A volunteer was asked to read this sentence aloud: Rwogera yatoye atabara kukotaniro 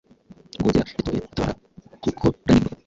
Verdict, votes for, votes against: rejected, 0, 2